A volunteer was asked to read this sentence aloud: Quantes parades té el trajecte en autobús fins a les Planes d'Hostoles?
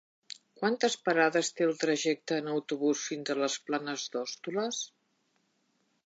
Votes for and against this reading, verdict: 2, 1, accepted